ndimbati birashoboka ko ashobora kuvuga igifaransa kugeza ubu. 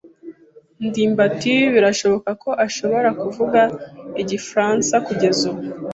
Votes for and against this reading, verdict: 2, 0, accepted